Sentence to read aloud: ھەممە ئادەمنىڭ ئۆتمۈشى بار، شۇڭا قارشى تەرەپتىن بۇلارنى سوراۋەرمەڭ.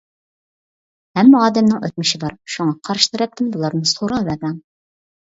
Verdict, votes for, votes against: accepted, 2, 0